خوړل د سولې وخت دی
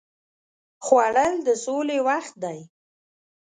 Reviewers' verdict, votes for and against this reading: accepted, 2, 1